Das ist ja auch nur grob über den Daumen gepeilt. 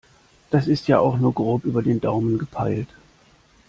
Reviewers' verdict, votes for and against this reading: accepted, 2, 0